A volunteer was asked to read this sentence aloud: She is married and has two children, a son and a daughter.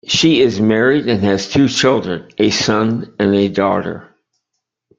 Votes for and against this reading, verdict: 2, 0, accepted